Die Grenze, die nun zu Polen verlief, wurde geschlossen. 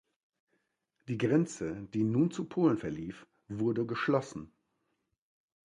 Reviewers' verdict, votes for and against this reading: accepted, 2, 0